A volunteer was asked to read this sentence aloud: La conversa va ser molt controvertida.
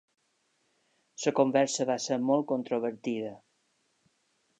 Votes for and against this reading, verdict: 3, 0, accepted